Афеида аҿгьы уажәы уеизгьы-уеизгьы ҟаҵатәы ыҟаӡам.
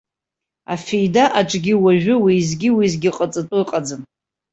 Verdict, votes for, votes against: accepted, 2, 0